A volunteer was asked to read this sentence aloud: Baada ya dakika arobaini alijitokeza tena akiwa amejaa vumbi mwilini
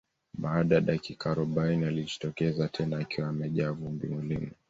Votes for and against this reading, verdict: 0, 2, rejected